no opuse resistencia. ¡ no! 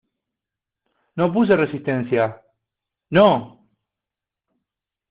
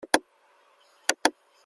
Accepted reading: first